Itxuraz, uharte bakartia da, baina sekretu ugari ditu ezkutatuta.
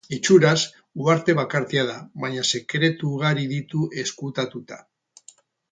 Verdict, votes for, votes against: rejected, 2, 4